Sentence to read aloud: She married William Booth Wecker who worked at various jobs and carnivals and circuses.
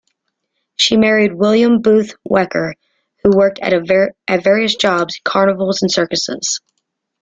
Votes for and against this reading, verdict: 0, 2, rejected